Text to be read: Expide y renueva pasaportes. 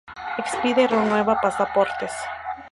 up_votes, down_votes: 2, 2